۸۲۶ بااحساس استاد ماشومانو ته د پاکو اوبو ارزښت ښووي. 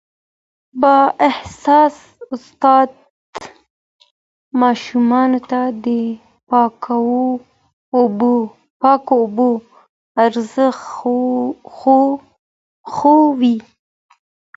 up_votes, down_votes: 0, 2